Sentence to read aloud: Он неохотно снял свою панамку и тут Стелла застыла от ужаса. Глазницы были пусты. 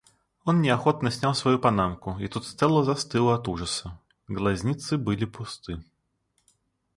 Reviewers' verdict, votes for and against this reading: accepted, 2, 0